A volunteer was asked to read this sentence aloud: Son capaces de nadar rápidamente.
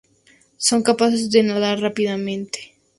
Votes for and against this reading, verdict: 0, 2, rejected